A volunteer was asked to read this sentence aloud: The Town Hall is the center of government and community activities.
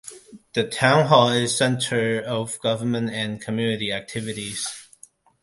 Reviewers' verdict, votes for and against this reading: rejected, 0, 2